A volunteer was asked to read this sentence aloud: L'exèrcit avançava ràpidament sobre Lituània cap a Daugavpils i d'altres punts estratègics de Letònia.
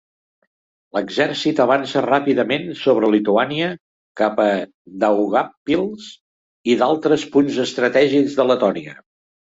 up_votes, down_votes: 1, 2